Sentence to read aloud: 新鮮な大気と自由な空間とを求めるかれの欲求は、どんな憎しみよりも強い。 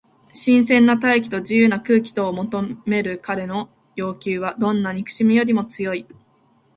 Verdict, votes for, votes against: rejected, 0, 2